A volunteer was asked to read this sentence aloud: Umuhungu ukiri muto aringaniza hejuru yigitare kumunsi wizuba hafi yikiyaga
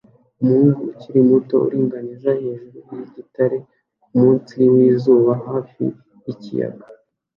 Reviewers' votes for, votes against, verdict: 2, 0, accepted